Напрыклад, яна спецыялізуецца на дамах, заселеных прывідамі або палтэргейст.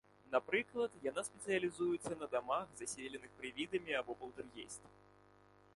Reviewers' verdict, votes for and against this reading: rejected, 0, 2